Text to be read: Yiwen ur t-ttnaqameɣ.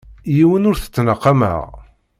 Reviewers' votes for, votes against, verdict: 2, 0, accepted